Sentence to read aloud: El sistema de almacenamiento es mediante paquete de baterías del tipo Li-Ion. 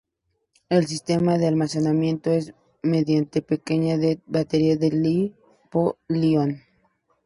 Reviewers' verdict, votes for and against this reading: rejected, 0, 2